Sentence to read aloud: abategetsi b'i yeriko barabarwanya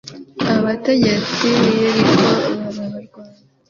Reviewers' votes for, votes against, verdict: 1, 2, rejected